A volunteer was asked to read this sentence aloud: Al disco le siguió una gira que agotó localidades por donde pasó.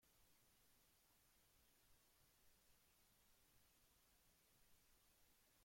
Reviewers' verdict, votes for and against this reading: rejected, 0, 2